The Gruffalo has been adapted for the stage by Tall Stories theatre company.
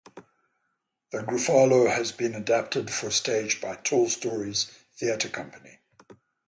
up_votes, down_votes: 0, 3